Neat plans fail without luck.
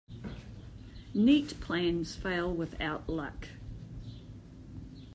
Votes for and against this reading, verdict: 1, 2, rejected